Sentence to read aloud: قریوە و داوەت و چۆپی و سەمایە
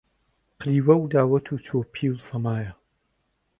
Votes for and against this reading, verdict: 4, 0, accepted